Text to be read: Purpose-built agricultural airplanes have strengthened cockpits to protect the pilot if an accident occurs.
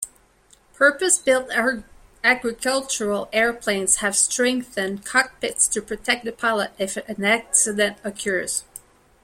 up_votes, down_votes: 2, 1